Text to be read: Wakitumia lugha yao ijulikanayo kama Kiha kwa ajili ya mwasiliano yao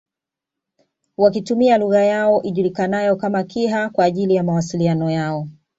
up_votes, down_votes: 2, 0